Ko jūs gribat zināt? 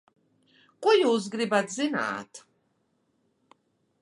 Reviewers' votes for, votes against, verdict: 2, 0, accepted